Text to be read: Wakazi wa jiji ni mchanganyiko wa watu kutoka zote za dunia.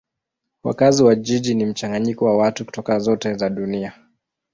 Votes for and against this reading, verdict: 2, 1, accepted